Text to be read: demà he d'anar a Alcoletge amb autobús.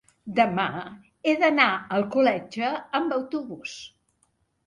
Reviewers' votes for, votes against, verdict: 2, 0, accepted